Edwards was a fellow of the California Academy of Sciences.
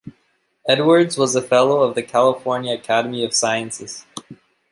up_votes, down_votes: 2, 0